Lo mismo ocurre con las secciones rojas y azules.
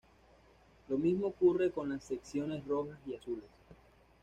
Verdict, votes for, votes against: accepted, 2, 0